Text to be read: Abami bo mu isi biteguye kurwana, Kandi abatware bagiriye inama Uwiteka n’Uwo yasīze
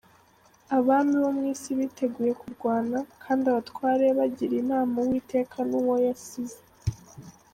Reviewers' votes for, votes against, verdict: 2, 0, accepted